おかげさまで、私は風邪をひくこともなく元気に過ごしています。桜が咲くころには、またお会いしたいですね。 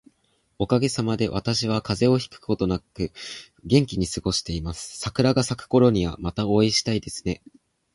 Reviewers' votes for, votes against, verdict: 2, 2, rejected